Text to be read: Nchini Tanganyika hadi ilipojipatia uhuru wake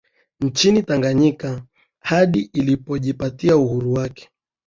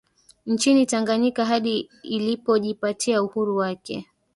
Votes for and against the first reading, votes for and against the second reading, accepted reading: 3, 0, 1, 2, first